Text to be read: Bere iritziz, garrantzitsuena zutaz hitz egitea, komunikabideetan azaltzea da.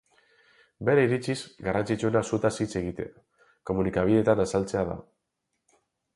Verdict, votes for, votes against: rejected, 2, 4